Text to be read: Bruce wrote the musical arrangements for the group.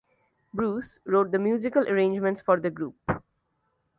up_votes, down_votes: 2, 0